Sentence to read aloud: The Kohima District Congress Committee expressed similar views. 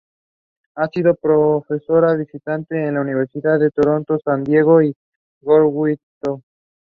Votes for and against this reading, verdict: 0, 2, rejected